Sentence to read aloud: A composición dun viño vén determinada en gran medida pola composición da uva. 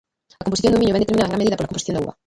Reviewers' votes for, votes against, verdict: 0, 2, rejected